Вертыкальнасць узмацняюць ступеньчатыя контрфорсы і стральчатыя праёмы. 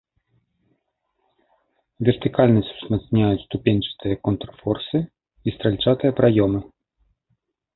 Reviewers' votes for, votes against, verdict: 3, 1, accepted